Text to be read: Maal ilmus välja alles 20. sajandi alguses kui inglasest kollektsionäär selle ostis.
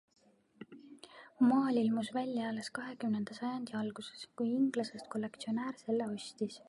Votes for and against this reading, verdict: 0, 2, rejected